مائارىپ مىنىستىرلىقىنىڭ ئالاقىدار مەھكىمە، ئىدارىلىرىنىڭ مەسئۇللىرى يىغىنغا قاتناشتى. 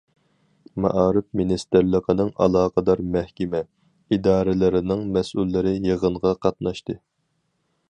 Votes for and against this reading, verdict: 4, 0, accepted